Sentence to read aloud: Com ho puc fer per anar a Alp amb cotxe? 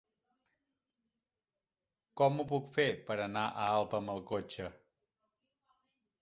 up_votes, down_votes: 0, 2